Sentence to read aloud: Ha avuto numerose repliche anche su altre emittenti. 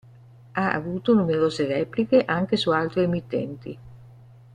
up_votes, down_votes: 2, 0